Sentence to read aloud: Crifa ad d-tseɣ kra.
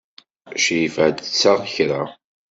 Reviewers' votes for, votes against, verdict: 2, 0, accepted